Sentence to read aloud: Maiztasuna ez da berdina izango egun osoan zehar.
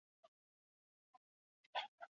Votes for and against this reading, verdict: 2, 0, accepted